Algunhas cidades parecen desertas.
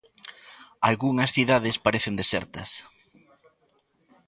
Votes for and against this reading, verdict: 2, 0, accepted